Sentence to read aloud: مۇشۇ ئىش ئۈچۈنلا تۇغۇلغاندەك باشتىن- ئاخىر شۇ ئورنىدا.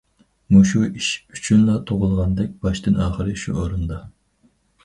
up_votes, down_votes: 2, 0